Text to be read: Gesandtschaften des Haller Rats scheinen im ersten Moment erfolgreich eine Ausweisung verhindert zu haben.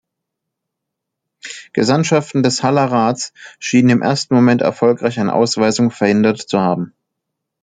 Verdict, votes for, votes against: rejected, 1, 2